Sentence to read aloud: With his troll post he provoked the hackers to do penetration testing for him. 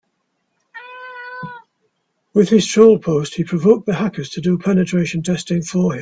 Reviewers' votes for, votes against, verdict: 0, 2, rejected